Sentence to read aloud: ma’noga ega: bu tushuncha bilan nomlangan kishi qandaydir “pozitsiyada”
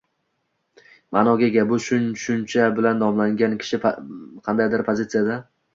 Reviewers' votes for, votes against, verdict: 0, 2, rejected